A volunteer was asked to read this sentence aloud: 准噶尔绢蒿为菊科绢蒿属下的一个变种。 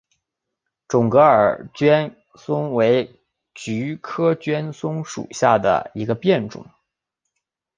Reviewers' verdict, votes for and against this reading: accepted, 2, 0